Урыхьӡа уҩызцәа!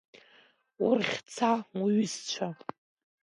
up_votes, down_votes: 2, 0